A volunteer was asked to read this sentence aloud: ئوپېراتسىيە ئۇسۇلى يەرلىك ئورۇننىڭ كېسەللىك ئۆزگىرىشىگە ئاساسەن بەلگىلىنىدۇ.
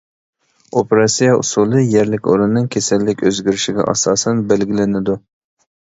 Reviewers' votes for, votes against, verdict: 2, 0, accepted